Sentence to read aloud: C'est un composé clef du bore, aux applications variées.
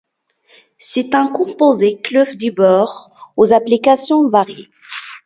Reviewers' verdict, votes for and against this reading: rejected, 1, 2